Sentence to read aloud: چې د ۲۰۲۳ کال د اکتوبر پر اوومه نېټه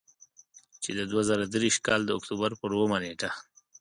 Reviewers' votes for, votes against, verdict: 0, 2, rejected